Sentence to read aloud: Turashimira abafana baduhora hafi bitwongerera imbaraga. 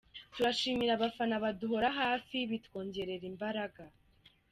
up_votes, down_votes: 2, 0